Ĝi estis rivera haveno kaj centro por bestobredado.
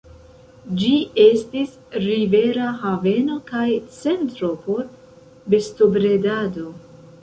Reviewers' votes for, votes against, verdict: 2, 1, accepted